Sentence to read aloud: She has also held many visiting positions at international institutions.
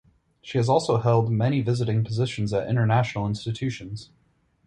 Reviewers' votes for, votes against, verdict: 4, 0, accepted